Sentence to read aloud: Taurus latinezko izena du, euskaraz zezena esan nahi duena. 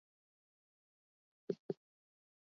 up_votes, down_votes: 0, 4